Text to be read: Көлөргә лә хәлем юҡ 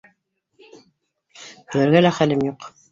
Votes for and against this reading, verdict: 1, 2, rejected